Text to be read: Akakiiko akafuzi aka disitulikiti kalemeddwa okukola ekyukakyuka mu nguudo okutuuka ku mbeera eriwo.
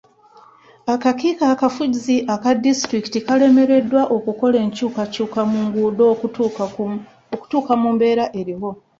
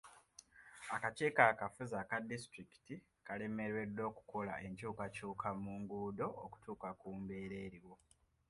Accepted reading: second